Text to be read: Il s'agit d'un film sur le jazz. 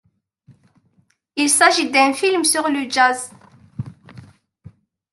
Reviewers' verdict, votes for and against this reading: accepted, 2, 0